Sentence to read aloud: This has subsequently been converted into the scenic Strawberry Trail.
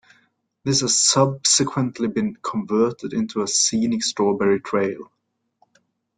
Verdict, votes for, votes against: rejected, 0, 2